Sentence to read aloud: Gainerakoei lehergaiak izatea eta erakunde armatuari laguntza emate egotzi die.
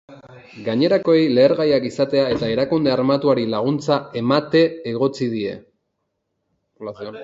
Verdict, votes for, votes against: accepted, 2, 1